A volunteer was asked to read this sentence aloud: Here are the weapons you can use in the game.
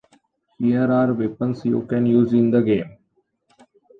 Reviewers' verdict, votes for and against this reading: rejected, 1, 2